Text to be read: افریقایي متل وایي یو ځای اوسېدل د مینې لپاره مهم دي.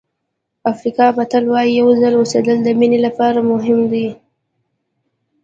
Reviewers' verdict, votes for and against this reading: rejected, 1, 2